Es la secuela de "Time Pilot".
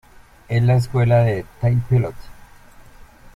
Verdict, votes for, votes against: rejected, 0, 2